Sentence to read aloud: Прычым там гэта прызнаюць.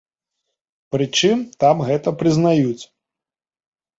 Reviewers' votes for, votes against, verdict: 3, 0, accepted